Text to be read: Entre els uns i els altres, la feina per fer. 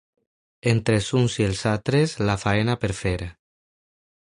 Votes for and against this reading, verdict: 1, 2, rejected